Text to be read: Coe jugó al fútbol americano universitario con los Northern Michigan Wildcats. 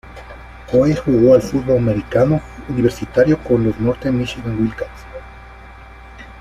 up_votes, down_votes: 0, 2